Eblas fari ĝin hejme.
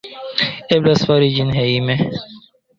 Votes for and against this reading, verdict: 2, 0, accepted